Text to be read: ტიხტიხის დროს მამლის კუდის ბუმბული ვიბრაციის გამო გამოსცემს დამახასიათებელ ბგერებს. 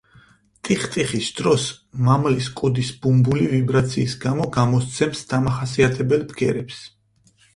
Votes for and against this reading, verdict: 4, 0, accepted